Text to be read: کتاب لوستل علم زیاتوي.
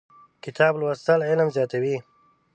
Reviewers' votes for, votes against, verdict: 2, 0, accepted